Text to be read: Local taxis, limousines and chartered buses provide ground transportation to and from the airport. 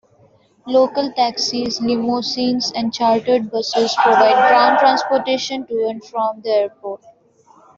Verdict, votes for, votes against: rejected, 0, 2